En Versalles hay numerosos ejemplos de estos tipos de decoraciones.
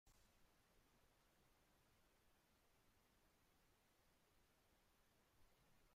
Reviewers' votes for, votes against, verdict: 0, 2, rejected